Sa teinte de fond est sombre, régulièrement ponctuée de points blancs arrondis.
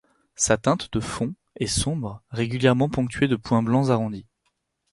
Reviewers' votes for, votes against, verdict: 4, 0, accepted